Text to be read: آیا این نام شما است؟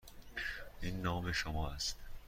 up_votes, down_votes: 2, 0